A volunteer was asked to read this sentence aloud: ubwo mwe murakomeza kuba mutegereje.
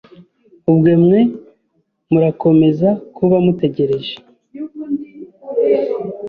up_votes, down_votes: 2, 0